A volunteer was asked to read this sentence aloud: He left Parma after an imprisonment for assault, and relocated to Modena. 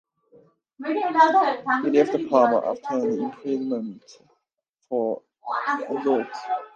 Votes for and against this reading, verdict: 0, 2, rejected